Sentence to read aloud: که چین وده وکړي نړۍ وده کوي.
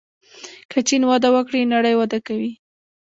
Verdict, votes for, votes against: rejected, 0, 2